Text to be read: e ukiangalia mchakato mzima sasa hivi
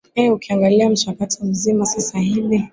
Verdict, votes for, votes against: accepted, 2, 0